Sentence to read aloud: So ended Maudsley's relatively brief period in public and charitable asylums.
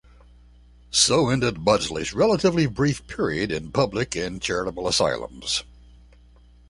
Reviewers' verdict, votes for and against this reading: rejected, 1, 2